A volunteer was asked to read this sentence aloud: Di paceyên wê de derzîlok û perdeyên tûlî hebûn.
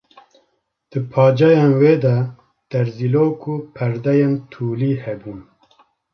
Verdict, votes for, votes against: accepted, 2, 0